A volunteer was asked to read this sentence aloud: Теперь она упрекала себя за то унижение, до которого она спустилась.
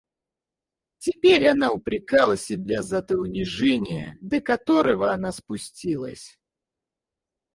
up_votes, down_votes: 4, 0